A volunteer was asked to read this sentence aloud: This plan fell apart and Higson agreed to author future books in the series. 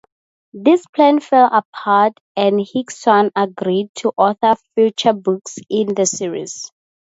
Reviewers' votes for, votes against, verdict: 2, 0, accepted